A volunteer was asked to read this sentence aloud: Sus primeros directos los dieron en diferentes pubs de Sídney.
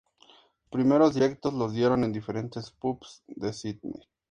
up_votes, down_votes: 2, 0